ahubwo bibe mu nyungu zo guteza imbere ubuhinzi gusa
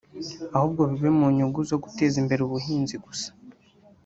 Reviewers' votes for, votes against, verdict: 1, 2, rejected